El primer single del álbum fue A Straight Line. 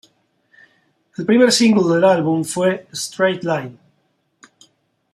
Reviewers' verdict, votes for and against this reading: rejected, 0, 2